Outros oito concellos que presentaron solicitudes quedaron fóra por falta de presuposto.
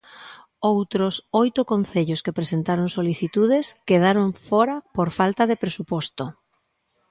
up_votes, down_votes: 2, 0